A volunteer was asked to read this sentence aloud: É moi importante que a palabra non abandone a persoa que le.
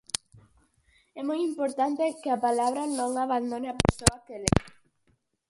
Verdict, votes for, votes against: rejected, 2, 4